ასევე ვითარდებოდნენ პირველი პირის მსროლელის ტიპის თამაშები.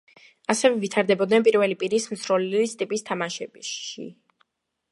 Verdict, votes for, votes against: accepted, 2, 0